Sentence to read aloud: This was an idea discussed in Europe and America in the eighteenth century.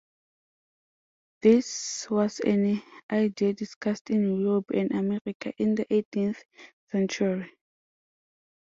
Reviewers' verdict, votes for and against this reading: accepted, 2, 0